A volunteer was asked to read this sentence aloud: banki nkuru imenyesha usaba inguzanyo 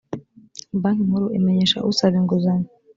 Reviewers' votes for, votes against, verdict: 2, 0, accepted